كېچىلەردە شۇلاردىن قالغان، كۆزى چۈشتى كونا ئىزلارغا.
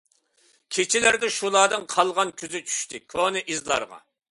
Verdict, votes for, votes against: accepted, 2, 0